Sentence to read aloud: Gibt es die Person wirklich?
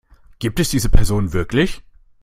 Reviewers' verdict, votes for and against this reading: rejected, 0, 2